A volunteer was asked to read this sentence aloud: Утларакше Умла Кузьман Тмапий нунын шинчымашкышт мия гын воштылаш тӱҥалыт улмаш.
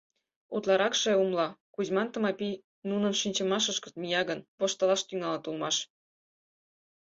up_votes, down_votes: 2, 4